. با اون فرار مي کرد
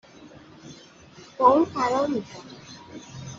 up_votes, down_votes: 1, 2